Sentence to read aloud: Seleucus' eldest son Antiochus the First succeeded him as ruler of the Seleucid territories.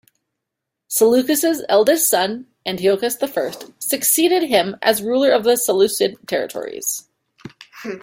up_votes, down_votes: 3, 0